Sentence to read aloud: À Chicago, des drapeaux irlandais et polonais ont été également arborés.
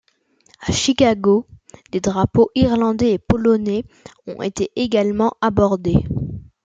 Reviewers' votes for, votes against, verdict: 0, 2, rejected